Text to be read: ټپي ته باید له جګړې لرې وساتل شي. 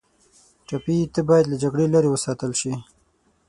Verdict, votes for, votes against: rejected, 3, 6